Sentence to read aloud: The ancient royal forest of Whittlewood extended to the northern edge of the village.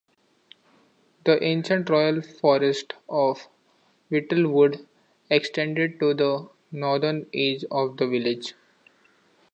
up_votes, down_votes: 2, 0